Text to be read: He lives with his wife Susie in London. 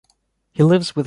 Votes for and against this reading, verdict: 1, 2, rejected